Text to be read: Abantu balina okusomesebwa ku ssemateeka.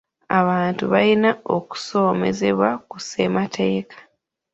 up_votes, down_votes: 0, 2